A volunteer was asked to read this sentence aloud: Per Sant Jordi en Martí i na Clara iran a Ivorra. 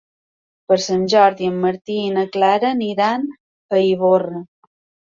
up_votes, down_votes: 0, 2